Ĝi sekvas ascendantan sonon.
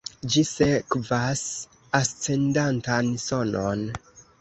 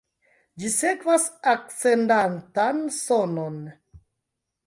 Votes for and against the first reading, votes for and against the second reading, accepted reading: 2, 0, 0, 3, first